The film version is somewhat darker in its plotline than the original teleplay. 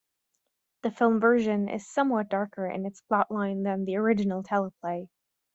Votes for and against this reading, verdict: 2, 0, accepted